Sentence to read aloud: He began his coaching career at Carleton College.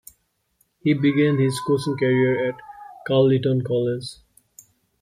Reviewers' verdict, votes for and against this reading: rejected, 0, 2